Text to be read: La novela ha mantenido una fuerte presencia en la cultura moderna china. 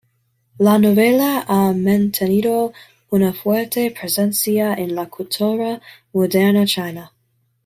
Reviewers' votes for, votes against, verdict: 2, 0, accepted